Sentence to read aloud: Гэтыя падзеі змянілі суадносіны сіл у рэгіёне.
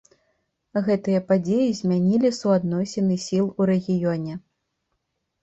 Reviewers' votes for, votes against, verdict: 2, 0, accepted